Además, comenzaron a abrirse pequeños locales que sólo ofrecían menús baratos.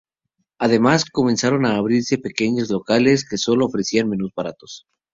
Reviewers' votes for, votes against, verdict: 4, 0, accepted